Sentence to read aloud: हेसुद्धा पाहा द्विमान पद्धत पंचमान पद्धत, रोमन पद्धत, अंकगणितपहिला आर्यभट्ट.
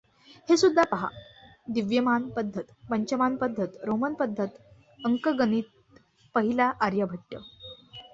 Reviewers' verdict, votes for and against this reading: rejected, 1, 2